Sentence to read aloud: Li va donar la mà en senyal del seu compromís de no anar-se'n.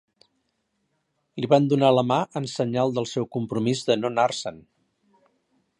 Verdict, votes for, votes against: rejected, 0, 3